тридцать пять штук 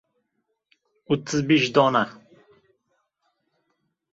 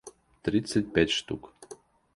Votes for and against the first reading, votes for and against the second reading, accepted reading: 0, 2, 2, 0, second